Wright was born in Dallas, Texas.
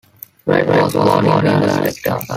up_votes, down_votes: 0, 2